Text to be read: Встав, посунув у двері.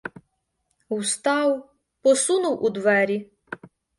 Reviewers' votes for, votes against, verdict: 1, 2, rejected